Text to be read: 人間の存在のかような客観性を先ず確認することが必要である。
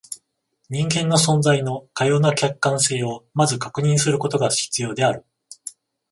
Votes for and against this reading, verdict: 14, 0, accepted